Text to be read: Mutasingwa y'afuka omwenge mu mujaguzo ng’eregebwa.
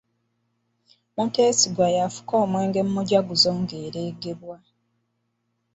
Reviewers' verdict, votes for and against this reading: rejected, 1, 2